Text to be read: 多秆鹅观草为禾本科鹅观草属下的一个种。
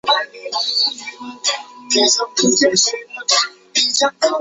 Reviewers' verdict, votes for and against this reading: rejected, 2, 3